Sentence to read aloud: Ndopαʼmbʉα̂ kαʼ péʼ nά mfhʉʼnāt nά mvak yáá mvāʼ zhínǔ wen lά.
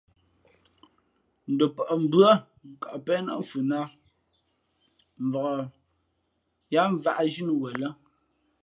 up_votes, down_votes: 2, 0